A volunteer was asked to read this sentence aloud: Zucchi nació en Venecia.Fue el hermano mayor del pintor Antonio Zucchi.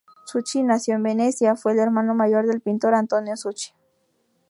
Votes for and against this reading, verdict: 0, 2, rejected